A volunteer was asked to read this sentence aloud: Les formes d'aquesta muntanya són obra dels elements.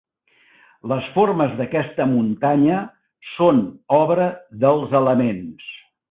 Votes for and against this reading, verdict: 3, 0, accepted